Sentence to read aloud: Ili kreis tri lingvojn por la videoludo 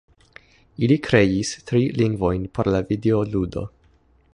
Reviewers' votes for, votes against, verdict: 2, 0, accepted